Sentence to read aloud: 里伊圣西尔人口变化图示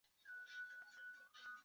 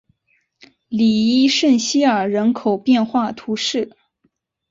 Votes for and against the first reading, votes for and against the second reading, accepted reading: 0, 3, 2, 0, second